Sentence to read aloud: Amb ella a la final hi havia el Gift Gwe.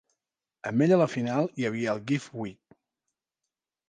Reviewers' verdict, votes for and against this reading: accepted, 2, 0